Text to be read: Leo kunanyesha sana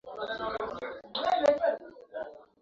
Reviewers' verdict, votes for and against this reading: rejected, 0, 2